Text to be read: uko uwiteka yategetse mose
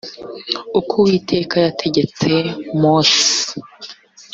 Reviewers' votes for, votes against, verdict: 2, 0, accepted